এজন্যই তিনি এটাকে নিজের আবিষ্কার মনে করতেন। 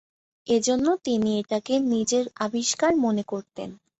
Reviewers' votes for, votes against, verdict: 2, 1, accepted